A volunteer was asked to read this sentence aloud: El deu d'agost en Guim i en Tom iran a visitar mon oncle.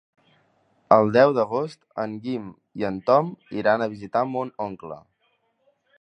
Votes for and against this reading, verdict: 3, 0, accepted